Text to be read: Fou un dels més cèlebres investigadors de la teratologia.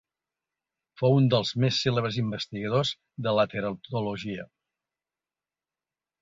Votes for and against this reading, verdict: 2, 1, accepted